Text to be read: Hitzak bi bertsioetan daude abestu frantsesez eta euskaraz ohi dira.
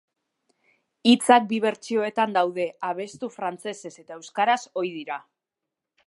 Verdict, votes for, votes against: accepted, 2, 0